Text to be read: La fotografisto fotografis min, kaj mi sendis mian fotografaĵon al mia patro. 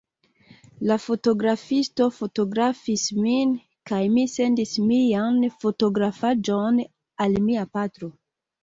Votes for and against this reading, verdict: 2, 0, accepted